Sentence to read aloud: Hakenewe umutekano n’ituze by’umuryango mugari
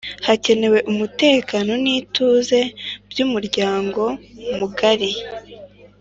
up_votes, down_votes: 2, 1